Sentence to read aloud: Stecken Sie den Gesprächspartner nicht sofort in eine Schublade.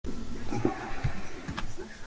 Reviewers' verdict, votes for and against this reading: rejected, 0, 2